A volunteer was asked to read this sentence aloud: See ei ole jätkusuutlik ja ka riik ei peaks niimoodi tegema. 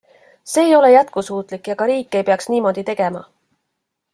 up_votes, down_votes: 2, 0